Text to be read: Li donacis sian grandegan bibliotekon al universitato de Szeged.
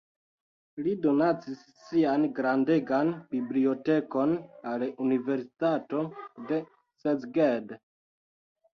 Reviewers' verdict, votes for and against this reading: accepted, 2, 0